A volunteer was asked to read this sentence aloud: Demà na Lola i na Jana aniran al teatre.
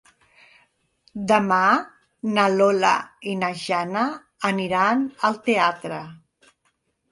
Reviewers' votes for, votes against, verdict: 3, 0, accepted